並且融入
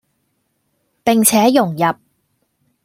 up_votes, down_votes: 0, 2